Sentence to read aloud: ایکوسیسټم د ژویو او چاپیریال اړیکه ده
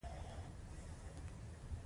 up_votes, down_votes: 2, 1